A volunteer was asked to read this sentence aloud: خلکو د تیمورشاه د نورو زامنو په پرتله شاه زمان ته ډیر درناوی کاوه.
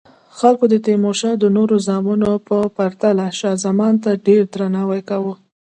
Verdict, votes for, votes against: accepted, 3, 0